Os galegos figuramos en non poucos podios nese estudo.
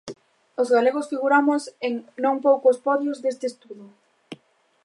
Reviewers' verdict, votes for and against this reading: rejected, 1, 2